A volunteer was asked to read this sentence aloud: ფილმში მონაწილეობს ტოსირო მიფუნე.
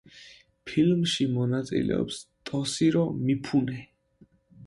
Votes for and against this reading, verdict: 1, 2, rejected